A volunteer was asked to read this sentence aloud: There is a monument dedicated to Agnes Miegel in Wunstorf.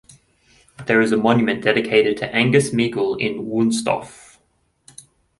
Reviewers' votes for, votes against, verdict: 1, 2, rejected